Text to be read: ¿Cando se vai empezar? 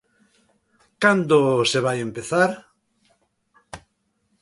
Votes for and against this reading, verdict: 2, 0, accepted